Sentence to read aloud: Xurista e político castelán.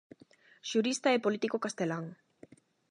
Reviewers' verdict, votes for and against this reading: accepted, 8, 0